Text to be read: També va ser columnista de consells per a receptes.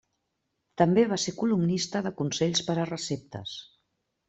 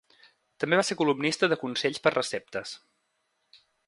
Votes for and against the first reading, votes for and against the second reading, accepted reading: 3, 0, 0, 2, first